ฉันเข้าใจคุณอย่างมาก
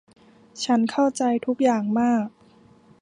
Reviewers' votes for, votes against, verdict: 1, 2, rejected